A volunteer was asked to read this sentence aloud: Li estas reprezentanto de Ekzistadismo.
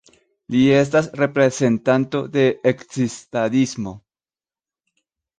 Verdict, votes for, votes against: accepted, 2, 0